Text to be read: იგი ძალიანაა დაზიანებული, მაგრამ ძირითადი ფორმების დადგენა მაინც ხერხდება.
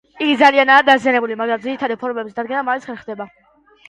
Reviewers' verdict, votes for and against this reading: rejected, 0, 2